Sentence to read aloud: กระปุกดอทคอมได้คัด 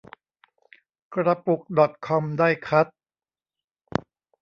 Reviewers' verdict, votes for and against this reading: rejected, 1, 2